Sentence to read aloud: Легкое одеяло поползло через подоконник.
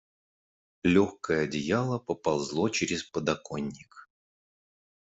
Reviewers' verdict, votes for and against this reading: accepted, 2, 0